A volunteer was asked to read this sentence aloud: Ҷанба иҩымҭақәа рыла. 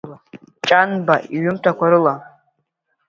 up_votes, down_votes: 2, 0